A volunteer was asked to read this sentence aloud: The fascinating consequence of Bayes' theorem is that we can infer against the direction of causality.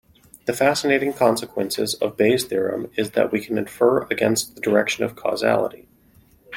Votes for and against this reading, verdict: 2, 0, accepted